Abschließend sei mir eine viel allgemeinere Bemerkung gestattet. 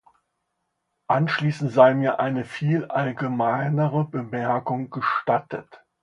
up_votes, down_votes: 1, 2